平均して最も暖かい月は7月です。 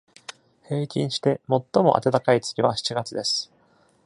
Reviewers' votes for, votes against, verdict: 0, 2, rejected